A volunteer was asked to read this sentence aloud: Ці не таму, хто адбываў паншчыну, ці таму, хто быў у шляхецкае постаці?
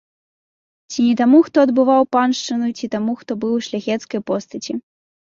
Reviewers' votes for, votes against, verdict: 2, 0, accepted